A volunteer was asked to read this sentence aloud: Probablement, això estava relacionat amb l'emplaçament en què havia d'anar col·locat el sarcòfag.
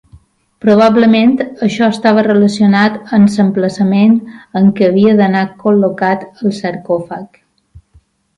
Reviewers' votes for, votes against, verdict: 2, 3, rejected